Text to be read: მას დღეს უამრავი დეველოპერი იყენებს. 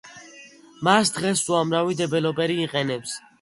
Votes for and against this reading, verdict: 2, 0, accepted